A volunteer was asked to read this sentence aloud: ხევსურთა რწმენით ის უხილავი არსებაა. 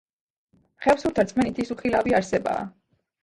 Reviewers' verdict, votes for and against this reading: rejected, 1, 2